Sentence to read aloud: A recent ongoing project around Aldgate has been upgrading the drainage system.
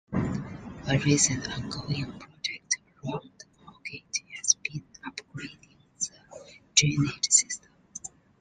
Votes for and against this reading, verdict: 0, 3, rejected